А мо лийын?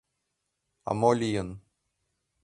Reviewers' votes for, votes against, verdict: 2, 0, accepted